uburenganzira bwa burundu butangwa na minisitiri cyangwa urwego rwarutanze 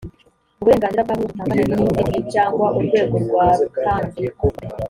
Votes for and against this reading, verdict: 1, 2, rejected